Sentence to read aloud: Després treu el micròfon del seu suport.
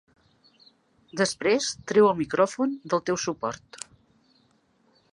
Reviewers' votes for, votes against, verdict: 0, 2, rejected